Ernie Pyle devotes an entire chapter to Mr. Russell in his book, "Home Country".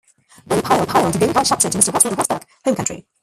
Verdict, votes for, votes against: rejected, 0, 2